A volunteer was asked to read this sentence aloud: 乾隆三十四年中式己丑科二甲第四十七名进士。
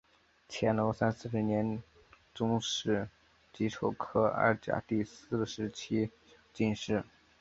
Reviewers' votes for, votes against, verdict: 2, 3, rejected